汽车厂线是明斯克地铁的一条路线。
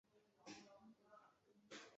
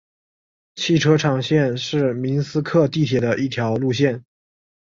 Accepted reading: second